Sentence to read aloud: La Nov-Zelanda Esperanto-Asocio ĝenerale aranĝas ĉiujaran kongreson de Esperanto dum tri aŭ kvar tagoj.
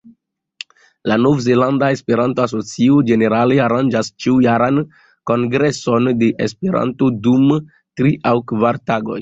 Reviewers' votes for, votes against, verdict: 2, 0, accepted